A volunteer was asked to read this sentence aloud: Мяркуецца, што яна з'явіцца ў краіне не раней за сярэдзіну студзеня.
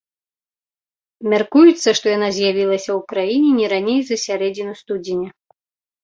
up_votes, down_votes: 0, 2